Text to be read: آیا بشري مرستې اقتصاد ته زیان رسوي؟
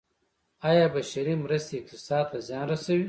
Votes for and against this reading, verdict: 2, 1, accepted